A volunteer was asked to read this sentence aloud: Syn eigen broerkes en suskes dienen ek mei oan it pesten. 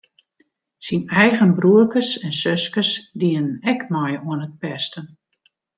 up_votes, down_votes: 2, 0